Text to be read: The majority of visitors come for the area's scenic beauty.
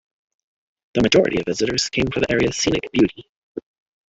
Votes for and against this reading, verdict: 2, 1, accepted